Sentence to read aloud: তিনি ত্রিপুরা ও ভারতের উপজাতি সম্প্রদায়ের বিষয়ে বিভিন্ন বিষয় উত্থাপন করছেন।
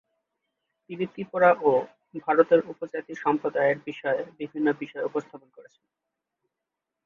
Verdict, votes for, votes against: rejected, 1, 2